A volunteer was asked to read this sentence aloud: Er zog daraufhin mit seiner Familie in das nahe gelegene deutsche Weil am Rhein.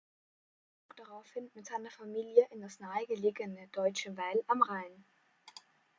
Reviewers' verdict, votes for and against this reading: rejected, 1, 2